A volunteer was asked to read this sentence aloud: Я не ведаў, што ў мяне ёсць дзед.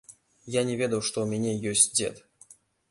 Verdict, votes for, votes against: accepted, 2, 0